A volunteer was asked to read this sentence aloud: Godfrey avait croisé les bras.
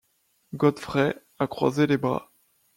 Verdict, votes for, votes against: rejected, 0, 2